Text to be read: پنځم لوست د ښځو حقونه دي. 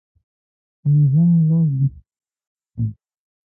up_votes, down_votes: 0, 2